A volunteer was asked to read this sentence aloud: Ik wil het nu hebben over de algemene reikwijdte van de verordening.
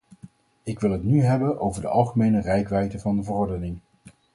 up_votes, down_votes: 2, 2